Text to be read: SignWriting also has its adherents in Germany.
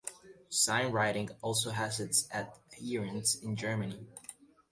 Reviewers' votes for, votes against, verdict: 1, 2, rejected